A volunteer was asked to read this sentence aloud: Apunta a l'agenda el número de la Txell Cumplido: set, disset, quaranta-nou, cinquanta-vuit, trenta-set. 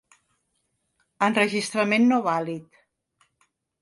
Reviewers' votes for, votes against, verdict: 1, 4, rejected